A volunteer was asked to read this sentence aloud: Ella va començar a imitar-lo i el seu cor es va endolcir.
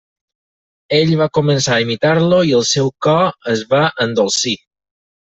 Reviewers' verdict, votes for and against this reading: rejected, 0, 4